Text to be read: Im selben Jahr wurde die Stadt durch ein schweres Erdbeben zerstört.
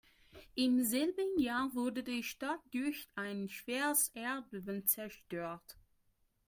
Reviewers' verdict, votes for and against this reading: rejected, 2, 3